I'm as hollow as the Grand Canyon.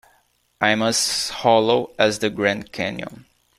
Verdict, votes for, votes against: accepted, 2, 0